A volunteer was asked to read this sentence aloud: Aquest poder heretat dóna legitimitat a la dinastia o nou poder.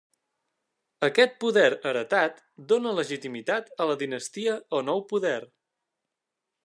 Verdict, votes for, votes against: accepted, 3, 0